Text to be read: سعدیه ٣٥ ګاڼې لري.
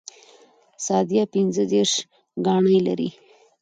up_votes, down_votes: 0, 2